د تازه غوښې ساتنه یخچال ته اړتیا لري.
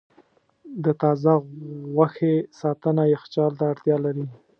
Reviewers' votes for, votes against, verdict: 2, 0, accepted